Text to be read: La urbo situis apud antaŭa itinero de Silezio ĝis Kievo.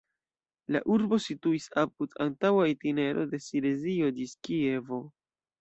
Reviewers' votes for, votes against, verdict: 1, 2, rejected